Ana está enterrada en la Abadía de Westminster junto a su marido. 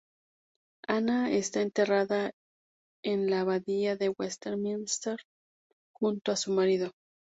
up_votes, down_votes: 2, 0